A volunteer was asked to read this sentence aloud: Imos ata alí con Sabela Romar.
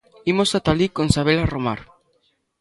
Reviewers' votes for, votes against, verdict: 2, 0, accepted